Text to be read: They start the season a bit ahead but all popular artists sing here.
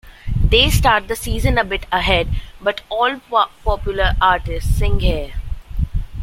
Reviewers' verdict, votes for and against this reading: rejected, 1, 2